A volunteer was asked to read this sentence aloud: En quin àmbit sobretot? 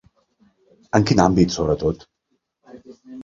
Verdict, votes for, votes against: accepted, 2, 0